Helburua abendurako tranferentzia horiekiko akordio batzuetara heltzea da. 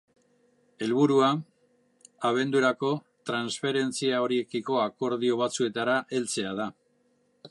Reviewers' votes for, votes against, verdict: 3, 0, accepted